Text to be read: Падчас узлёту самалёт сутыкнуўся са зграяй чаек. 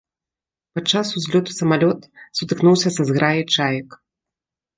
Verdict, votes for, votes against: accepted, 2, 0